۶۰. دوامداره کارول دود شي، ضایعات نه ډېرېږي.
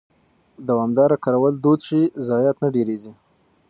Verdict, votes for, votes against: rejected, 0, 2